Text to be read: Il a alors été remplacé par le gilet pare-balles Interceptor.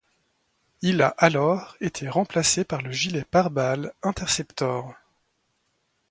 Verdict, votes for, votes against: accepted, 2, 0